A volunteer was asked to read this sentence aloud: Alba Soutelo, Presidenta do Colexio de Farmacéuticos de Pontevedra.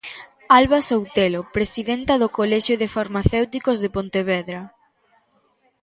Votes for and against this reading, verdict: 2, 0, accepted